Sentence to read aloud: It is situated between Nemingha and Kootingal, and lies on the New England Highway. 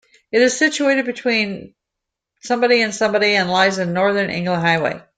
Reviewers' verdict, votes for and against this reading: rejected, 0, 2